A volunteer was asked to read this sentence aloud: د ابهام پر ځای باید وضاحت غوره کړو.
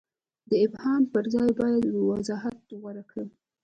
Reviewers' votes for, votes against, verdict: 1, 2, rejected